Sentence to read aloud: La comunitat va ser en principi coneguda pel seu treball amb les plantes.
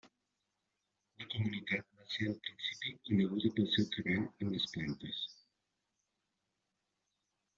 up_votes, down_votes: 0, 2